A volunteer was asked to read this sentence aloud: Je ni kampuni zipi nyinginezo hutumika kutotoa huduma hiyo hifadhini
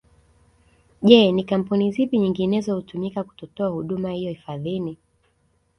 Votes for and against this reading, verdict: 2, 0, accepted